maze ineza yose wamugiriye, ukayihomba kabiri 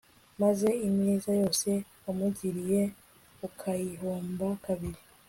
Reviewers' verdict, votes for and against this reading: accepted, 2, 0